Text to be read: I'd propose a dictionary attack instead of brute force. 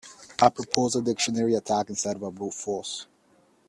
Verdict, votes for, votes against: rejected, 1, 2